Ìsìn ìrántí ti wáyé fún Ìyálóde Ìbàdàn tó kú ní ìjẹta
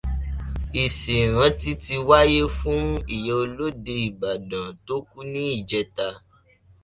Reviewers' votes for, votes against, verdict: 1, 2, rejected